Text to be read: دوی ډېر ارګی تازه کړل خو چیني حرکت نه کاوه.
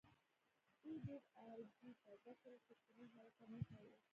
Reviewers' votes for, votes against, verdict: 1, 2, rejected